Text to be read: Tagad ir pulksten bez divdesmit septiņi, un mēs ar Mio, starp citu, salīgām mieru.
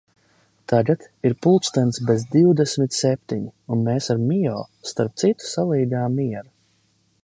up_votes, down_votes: 0, 2